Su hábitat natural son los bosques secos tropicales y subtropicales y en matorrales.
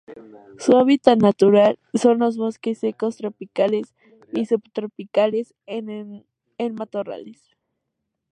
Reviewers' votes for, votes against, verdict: 0, 2, rejected